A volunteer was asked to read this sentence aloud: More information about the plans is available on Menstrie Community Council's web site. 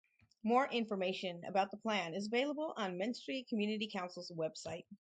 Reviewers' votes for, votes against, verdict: 2, 2, rejected